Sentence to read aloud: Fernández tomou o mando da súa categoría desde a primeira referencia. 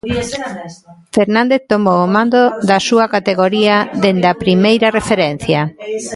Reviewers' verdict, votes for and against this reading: rejected, 1, 2